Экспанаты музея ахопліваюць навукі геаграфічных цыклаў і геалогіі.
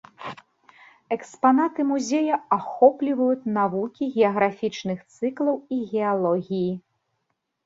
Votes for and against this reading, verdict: 2, 0, accepted